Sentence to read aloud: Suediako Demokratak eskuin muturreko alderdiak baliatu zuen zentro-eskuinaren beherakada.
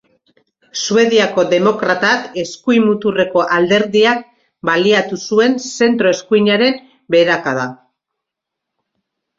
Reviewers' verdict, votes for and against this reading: accepted, 2, 0